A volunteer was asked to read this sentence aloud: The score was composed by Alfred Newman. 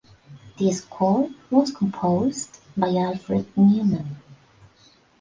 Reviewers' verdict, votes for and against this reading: rejected, 0, 2